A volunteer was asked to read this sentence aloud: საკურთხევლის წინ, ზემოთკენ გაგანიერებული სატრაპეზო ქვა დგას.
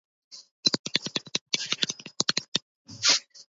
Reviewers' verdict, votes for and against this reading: rejected, 0, 2